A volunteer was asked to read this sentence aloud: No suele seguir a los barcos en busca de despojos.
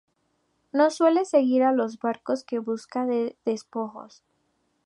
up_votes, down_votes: 2, 0